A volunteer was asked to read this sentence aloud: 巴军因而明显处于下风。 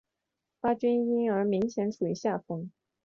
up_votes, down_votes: 2, 1